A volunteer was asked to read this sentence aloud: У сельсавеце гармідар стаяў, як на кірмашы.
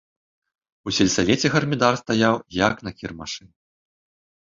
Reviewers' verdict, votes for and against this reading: accepted, 2, 0